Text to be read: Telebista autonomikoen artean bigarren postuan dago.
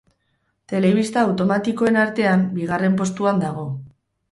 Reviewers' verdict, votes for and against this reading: rejected, 2, 2